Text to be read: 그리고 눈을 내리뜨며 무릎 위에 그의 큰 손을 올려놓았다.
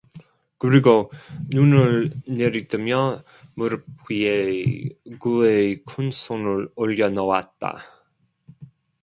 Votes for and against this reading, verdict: 0, 2, rejected